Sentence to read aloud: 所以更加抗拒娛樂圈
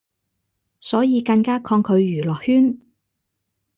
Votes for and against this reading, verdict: 4, 0, accepted